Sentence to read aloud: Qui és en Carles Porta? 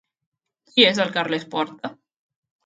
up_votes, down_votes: 0, 2